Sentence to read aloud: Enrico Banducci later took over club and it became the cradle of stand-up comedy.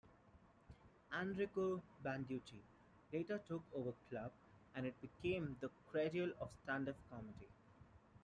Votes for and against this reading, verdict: 2, 0, accepted